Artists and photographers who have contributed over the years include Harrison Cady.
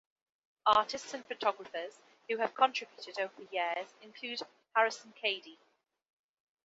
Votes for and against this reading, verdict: 2, 1, accepted